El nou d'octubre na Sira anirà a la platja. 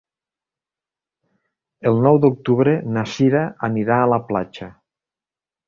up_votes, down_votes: 2, 0